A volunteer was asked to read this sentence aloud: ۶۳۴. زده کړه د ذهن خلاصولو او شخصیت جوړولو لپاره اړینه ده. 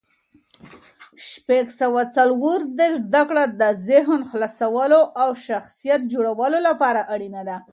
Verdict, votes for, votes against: rejected, 0, 2